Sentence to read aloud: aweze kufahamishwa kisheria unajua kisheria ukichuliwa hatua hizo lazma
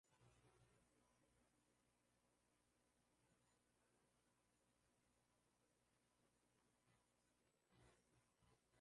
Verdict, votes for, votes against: rejected, 0, 2